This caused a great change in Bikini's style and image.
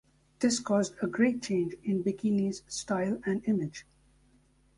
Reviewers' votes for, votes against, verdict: 2, 0, accepted